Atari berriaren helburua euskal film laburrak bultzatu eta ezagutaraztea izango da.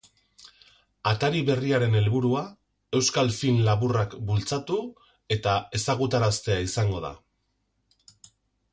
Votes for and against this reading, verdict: 6, 0, accepted